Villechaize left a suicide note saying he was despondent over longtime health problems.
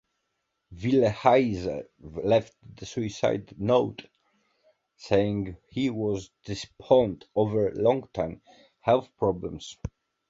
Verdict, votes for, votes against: rejected, 0, 2